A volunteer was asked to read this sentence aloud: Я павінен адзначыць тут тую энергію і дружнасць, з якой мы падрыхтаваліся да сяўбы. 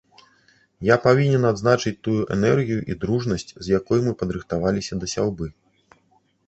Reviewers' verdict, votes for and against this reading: rejected, 0, 2